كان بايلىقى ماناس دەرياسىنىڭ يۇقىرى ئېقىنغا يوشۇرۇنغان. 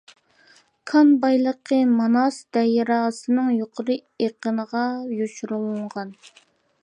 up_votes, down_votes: 0, 2